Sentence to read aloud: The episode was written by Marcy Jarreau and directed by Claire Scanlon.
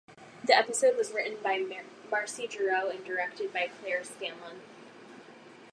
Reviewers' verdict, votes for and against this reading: rejected, 2, 4